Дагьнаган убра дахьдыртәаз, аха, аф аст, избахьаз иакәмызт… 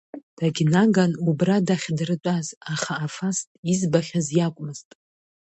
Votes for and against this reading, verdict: 2, 0, accepted